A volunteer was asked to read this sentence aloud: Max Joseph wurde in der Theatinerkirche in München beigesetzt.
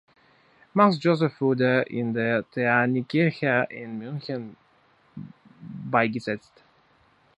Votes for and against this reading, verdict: 0, 2, rejected